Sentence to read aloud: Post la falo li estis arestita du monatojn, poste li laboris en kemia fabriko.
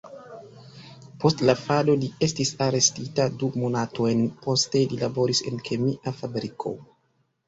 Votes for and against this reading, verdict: 1, 2, rejected